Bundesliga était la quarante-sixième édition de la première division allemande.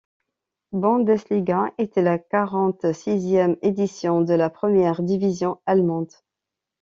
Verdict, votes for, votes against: accepted, 2, 0